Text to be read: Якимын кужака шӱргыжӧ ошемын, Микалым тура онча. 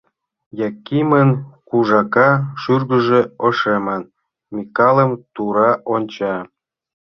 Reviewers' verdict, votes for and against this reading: accepted, 2, 0